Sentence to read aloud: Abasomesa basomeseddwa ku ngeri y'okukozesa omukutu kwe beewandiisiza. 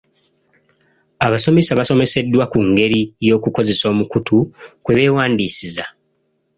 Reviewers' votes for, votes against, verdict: 2, 0, accepted